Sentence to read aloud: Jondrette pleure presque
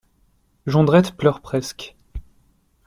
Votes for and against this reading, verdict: 2, 0, accepted